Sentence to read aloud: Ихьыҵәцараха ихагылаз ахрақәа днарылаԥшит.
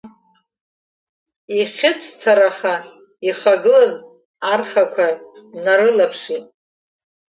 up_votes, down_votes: 3, 2